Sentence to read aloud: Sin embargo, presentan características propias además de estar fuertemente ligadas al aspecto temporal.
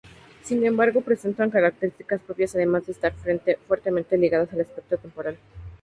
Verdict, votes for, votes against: accepted, 2, 0